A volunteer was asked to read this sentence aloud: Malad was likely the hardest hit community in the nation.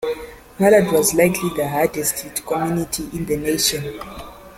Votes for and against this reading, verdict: 2, 1, accepted